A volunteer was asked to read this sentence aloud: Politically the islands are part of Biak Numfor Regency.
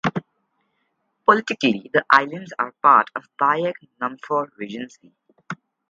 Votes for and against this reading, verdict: 2, 2, rejected